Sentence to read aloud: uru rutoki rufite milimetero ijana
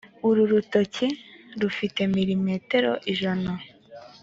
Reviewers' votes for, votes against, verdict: 3, 0, accepted